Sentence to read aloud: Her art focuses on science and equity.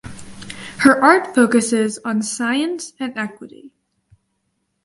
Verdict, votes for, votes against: accepted, 4, 0